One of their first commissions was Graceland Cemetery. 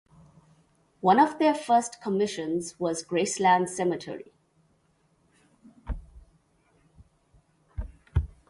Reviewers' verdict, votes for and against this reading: rejected, 0, 2